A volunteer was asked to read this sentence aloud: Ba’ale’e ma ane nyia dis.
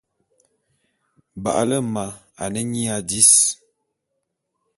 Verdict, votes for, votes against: accepted, 2, 0